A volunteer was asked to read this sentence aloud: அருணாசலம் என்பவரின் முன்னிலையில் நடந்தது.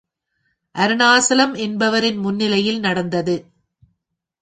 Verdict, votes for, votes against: accepted, 2, 0